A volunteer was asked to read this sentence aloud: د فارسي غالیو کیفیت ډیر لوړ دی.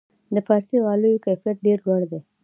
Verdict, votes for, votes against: accepted, 2, 0